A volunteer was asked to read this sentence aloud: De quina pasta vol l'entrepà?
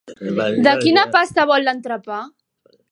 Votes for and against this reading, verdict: 4, 1, accepted